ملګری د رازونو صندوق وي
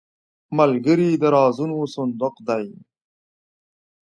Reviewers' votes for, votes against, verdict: 1, 2, rejected